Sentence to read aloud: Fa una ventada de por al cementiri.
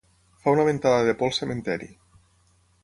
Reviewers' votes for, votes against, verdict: 0, 6, rejected